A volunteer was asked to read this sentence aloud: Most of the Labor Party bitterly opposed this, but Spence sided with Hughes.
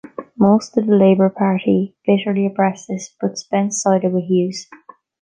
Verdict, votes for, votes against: rejected, 1, 2